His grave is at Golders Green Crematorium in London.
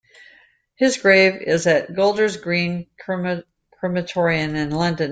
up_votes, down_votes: 0, 2